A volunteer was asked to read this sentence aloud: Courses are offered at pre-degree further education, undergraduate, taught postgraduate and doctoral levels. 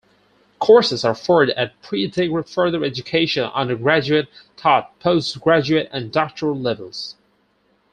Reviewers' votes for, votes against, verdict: 2, 4, rejected